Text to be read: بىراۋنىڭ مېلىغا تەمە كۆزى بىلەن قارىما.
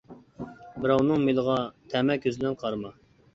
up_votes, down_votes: 2, 0